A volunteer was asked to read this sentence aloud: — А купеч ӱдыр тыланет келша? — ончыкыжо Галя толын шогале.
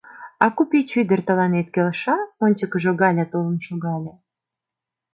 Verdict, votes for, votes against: accepted, 2, 0